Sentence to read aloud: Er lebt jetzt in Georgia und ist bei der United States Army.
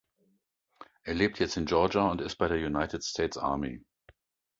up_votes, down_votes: 2, 0